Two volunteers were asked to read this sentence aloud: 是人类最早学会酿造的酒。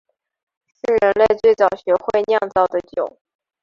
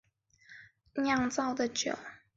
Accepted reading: first